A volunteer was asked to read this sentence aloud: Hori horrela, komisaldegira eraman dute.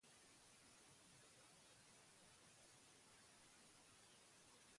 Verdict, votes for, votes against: rejected, 0, 8